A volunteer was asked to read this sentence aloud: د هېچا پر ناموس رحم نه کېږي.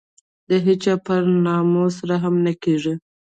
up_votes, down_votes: 0, 2